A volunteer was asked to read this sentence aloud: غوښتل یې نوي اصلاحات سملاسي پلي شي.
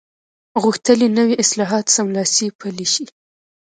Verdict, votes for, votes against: rejected, 0, 2